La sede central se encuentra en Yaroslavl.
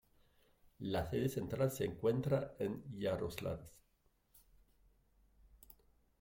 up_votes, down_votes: 1, 2